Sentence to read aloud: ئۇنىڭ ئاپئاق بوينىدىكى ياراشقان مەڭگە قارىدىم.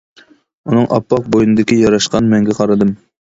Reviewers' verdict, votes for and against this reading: accepted, 2, 0